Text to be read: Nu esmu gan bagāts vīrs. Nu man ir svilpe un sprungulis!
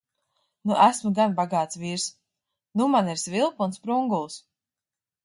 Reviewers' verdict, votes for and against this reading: accepted, 2, 1